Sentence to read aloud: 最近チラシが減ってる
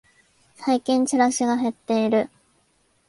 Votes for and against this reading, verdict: 1, 2, rejected